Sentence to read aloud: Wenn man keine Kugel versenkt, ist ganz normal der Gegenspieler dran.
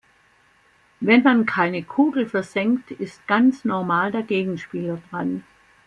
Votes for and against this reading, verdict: 3, 0, accepted